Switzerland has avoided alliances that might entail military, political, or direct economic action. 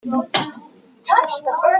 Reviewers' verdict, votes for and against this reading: rejected, 0, 2